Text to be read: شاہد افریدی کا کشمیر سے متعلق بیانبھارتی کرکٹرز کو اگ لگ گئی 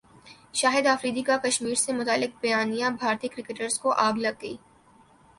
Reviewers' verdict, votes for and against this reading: accepted, 3, 0